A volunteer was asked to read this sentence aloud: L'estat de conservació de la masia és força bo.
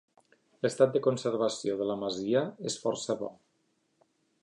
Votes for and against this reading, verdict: 3, 0, accepted